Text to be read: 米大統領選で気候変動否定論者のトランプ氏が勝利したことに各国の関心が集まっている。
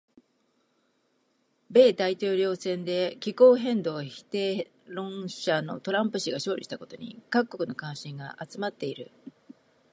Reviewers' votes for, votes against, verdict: 2, 1, accepted